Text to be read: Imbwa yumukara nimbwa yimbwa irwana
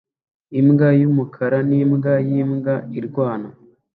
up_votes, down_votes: 2, 0